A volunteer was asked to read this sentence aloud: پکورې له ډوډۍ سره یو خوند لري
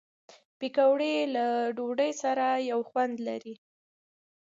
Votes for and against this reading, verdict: 2, 0, accepted